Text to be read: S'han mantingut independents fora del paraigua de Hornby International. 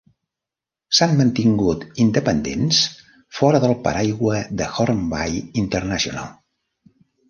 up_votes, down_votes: 2, 0